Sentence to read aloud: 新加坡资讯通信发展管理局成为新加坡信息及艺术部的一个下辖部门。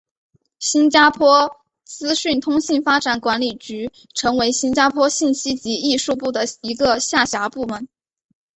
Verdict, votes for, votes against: accepted, 2, 0